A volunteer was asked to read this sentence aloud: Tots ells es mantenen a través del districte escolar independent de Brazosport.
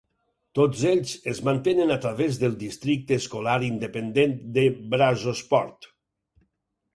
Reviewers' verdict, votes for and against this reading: accepted, 4, 0